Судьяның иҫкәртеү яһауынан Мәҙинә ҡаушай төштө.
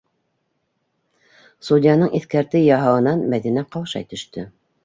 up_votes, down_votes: 2, 0